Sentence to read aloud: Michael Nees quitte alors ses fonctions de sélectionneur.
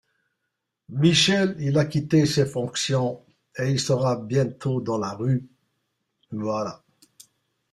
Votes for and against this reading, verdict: 0, 2, rejected